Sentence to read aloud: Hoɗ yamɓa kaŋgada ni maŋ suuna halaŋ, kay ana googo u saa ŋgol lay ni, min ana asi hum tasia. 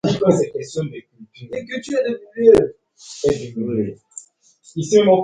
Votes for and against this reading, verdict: 0, 2, rejected